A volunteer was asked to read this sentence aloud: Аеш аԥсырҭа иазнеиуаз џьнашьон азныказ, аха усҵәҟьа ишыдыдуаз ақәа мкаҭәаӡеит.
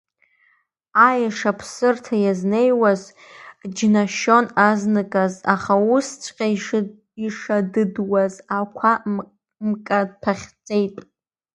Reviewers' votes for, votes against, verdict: 0, 2, rejected